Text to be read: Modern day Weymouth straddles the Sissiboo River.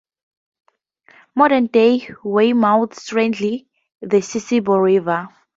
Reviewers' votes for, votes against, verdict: 0, 2, rejected